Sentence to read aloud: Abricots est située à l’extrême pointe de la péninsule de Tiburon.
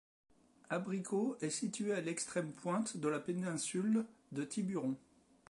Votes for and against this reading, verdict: 2, 0, accepted